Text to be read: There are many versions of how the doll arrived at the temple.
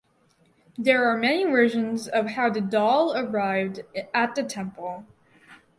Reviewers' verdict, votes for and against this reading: accepted, 4, 0